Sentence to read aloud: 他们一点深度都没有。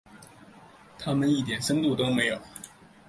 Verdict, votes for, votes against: accepted, 7, 0